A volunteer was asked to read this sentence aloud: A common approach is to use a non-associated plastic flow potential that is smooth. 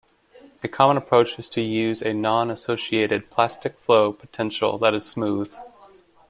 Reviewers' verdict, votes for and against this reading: accepted, 2, 0